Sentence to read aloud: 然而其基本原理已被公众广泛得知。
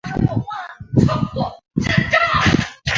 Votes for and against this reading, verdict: 0, 2, rejected